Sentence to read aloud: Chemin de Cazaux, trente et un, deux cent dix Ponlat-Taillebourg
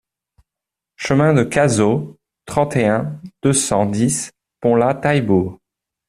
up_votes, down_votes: 2, 0